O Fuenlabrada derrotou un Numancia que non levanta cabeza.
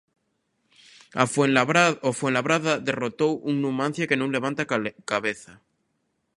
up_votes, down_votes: 0, 2